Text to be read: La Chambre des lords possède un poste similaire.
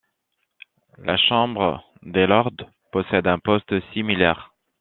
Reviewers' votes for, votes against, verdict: 2, 0, accepted